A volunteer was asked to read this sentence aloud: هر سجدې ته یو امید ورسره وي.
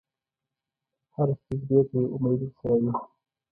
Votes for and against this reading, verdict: 1, 2, rejected